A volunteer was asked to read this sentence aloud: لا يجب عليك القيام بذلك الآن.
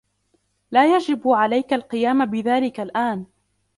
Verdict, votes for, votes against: rejected, 0, 2